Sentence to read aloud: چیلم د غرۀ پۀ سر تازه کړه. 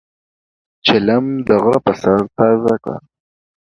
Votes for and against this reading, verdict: 2, 0, accepted